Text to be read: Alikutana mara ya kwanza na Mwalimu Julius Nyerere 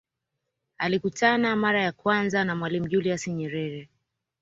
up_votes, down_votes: 2, 1